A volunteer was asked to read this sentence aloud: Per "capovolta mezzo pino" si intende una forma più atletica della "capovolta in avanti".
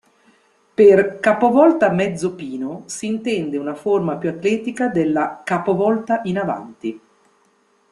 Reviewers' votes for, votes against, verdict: 2, 0, accepted